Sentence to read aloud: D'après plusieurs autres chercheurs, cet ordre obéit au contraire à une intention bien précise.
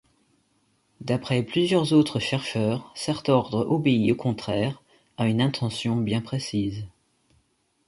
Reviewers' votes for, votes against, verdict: 0, 2, rejected